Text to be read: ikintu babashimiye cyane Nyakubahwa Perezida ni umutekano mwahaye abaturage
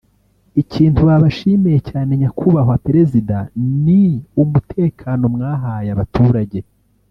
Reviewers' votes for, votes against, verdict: 0, 2, rejected